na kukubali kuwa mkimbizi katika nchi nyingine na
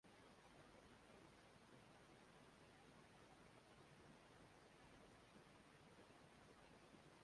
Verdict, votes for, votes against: rejected, 1, 3